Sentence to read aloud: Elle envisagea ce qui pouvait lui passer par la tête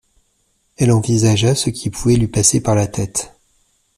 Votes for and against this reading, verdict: 2, 0, accepted